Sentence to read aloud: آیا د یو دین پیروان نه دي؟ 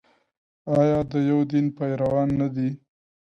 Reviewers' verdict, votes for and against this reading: accepted, 2, 0